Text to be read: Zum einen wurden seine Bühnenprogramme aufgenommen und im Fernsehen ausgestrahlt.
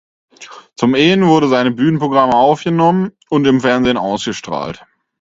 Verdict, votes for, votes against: rejected, 0, 4